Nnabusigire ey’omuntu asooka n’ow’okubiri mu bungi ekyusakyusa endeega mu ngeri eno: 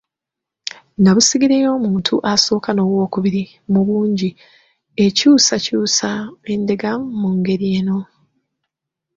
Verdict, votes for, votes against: rejected, 0, 2